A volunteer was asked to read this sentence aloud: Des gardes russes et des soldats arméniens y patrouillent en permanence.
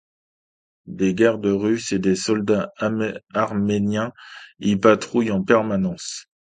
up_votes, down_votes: 0, 2